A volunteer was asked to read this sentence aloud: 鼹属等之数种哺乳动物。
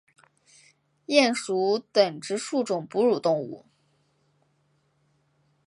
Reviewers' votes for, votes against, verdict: 2, 0, accepted